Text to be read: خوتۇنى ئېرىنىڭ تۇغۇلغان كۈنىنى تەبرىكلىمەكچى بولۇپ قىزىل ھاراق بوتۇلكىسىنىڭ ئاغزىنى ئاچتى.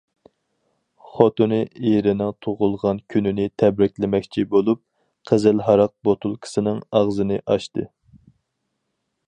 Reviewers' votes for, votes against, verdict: 4, 0, accepted